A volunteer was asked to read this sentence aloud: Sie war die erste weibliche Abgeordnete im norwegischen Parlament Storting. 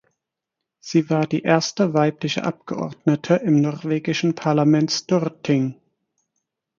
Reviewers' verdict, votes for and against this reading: rejected, 0, 4